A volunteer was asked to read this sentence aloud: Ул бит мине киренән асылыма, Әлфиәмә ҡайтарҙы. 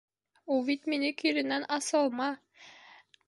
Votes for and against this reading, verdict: 1, 3, rejected